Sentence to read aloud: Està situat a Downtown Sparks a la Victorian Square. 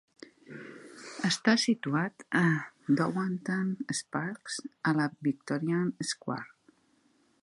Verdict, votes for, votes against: rejected, 1, 2